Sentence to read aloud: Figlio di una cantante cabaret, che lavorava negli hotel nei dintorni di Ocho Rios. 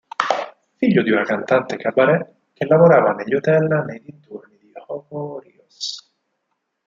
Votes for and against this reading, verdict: 0, 4, rejected